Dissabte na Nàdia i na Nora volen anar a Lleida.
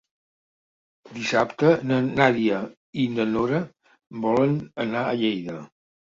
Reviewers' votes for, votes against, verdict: 3, 0, accepted